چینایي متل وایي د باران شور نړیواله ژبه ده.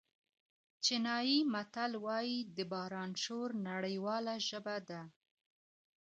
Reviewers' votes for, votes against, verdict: 2, 0, accepted